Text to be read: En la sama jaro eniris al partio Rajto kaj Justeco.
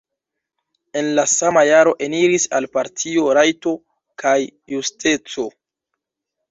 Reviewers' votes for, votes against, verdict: 2, 0, accepted